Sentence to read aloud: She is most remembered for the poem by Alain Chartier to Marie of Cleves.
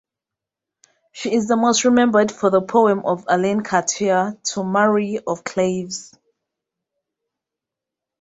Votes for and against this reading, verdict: 0, 2, rejected